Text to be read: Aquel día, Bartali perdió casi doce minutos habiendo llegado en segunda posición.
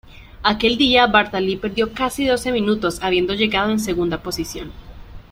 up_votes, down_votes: 2, 0